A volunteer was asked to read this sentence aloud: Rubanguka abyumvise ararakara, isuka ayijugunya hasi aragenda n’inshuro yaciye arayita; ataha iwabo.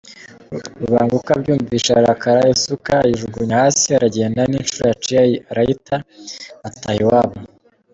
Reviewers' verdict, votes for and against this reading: rejected, 1, 2